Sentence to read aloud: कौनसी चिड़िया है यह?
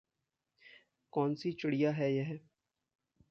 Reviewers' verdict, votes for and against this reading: accepted, 3, 0